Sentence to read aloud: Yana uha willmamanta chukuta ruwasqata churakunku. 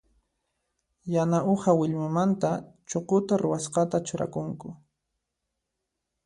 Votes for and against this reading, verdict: 2, 0, accepted